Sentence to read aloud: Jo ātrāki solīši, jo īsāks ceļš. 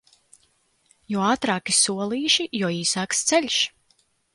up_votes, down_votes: 2, 0